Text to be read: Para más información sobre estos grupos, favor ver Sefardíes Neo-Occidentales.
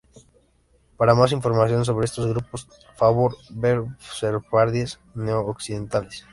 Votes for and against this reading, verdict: 0, 2, rejected